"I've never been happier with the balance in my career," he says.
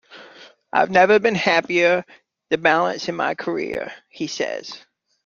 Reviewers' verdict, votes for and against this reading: rejected, 1, 2